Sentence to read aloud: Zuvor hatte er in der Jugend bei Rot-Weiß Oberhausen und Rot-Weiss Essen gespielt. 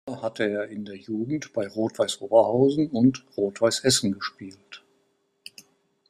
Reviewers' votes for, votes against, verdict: 2, 4, rejected